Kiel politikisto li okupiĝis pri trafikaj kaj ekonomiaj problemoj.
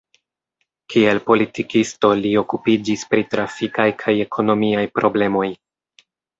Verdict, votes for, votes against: accepted, 2, 0